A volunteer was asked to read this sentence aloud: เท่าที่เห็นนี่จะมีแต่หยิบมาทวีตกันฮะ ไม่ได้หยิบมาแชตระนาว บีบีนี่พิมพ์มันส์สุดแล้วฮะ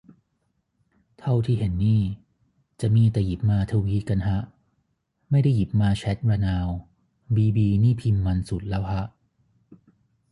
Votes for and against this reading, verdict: 3, 0, accepted